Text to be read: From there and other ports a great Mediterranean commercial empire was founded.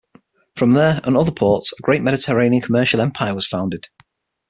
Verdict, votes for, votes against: accepted, 6, 3